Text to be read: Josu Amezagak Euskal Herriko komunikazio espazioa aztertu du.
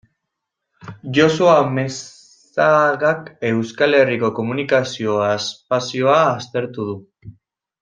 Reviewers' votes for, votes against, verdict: 0, 2, rejected